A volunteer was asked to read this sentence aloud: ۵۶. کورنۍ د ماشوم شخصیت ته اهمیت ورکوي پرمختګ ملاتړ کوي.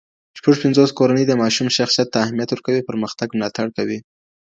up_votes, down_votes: 0, 2